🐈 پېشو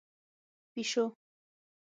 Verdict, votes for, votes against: rejected, 3, 6